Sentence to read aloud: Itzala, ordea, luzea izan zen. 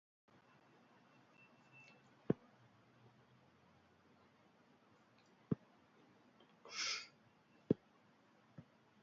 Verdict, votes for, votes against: rejected, 0, 3